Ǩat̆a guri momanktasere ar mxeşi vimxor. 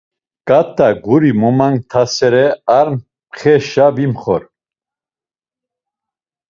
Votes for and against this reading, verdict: 2, 0, accepted